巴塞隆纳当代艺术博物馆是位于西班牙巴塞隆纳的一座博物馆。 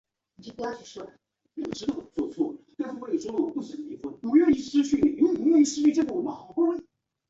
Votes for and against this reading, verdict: 0, 2, rejected